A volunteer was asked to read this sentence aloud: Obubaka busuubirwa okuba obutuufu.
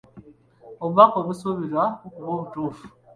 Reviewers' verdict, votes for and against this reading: accepted, 2, 1